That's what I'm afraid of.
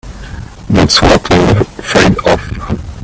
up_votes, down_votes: 2, 3